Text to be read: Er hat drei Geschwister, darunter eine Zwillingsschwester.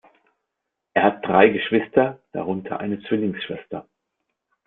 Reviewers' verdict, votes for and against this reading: accepted, 2, 0